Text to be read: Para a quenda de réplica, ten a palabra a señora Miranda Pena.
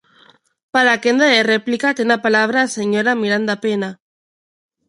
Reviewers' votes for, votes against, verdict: 2, 0, accepted